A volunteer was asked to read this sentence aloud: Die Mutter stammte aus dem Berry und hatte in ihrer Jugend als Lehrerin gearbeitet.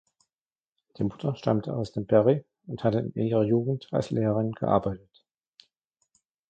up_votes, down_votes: 0, 2